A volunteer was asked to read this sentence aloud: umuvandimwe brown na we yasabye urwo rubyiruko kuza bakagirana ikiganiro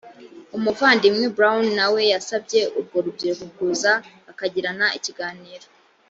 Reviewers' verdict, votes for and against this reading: accepted, 2, 0